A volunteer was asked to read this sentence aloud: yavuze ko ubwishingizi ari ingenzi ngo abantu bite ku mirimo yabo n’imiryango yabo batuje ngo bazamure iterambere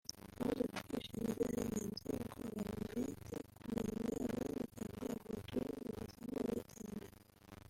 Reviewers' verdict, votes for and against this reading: rejected, 0, 2